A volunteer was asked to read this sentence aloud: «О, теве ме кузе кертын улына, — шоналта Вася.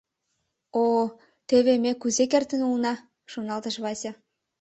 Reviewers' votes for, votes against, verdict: 1, 2, rejected